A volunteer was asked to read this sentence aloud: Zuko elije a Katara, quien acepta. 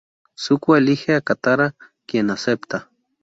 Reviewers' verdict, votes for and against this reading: rejected, 0, 2